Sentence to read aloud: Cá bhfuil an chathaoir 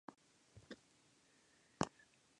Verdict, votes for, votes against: rejected, 0, 2